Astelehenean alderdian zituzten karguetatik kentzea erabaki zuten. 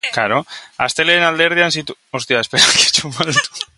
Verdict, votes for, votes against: rejected, 0, 5